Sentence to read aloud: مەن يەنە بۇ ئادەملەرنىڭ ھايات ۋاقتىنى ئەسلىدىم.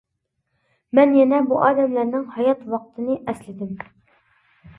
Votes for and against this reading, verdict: 2, 0, accepted